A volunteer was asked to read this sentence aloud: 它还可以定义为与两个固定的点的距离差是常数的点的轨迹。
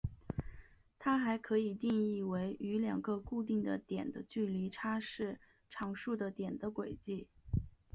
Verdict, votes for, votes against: rejected, 1, 3